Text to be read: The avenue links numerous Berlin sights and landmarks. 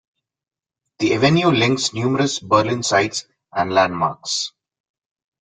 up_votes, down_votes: 2, 0